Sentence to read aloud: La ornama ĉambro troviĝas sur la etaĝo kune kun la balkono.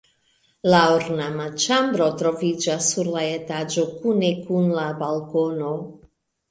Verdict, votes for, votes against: rejected, 0, 2